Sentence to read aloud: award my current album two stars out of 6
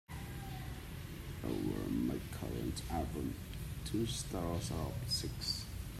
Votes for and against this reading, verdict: 0, 2, rejected